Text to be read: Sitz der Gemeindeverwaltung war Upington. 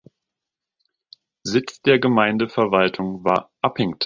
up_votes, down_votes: 0, 2